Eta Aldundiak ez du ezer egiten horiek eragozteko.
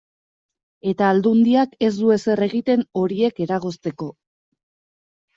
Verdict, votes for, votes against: accepted, 2, 0